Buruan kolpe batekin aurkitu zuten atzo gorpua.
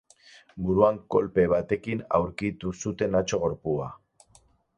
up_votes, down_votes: 4, 0